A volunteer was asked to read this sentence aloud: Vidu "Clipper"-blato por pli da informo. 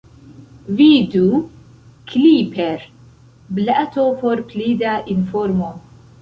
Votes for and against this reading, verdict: 2, 0, accepted